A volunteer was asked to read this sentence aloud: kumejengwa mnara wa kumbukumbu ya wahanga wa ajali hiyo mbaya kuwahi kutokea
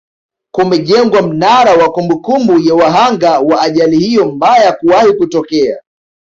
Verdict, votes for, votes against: accepted, 2, 0